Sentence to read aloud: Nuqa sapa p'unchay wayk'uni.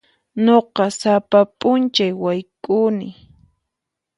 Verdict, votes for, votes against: accepted, 4, 0